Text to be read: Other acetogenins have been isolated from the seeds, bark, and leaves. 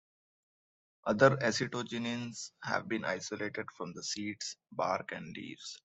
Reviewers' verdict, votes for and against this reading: accepted, 2, 0